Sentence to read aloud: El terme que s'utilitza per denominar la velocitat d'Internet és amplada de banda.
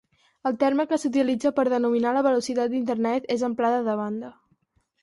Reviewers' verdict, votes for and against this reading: accepted, 4, 0